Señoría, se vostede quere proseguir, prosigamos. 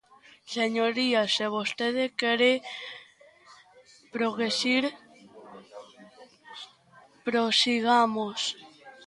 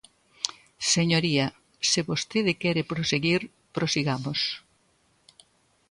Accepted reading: second